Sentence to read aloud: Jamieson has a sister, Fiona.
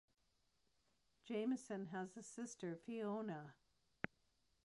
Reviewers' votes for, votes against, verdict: 2, 0, accepted